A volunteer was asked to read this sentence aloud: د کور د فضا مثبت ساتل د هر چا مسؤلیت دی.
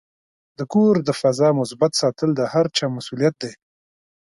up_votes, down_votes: 4, 0